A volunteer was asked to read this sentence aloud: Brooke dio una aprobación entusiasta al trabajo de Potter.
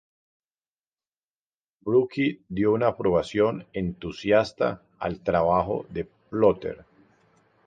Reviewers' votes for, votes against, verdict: 0, 2, rejected